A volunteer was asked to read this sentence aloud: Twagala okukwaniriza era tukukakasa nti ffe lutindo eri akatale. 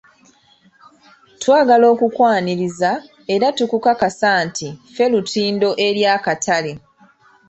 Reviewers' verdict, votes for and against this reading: accepted, 2, 0